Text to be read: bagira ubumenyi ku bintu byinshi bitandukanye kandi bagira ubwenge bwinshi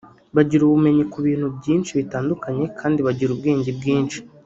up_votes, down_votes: 1, 2